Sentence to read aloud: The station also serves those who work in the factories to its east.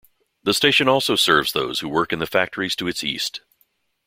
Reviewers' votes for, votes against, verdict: 2, 0, accepted